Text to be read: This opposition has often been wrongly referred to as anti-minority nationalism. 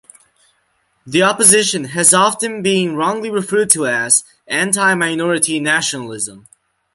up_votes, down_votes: 0, 2